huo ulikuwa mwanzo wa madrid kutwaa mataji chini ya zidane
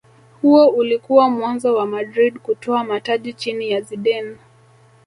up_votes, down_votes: 2, 0